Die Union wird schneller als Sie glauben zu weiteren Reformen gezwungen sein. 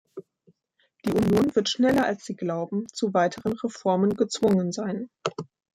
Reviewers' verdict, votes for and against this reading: rejected, 0, 2